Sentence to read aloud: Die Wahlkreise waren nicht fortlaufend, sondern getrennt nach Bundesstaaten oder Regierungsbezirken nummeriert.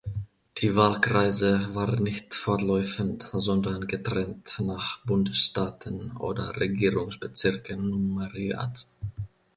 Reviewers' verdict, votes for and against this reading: rejected, 0, 2